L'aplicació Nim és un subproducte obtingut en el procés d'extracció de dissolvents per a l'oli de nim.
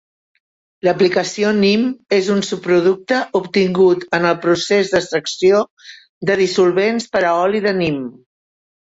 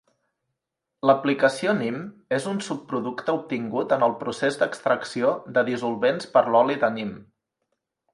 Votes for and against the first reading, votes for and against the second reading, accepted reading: 0, 2, 2, 0, second